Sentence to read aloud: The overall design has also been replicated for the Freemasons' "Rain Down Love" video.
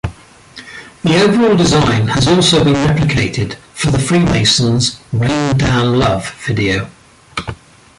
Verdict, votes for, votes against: rejected, 1, 2